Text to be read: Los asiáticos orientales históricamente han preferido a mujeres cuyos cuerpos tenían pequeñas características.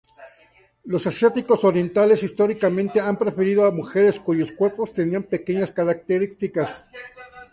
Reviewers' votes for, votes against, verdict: 4, 0, accepted